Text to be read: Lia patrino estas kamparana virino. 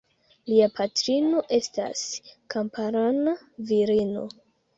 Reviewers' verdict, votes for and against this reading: accepted, 2, 0